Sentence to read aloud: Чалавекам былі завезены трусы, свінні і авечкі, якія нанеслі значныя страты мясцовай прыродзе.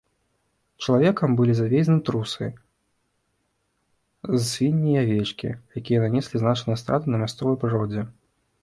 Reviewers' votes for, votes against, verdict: 0, 2, rejected